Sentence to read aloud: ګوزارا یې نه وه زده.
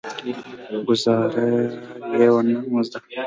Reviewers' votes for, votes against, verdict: 0, 2, rejected